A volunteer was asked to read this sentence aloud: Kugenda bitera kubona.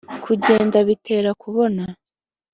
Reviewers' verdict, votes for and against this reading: accepted, 2, 0